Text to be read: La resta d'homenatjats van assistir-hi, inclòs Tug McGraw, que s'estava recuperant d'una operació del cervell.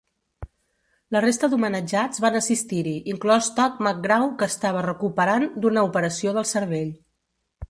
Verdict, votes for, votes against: rejected, 1, 3